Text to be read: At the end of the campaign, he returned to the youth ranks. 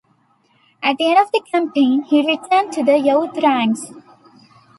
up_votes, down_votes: 1, 2